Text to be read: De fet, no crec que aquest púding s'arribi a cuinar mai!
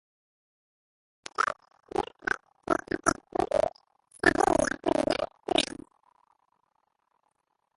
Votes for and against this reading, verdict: 0, 3, rejected